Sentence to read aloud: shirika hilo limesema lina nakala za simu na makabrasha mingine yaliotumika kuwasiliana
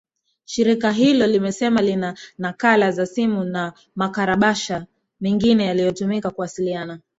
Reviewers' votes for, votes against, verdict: 2, 0, accepted